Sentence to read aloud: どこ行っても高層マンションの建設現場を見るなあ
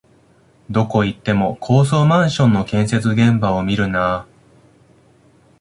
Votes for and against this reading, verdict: 1, 2, rejected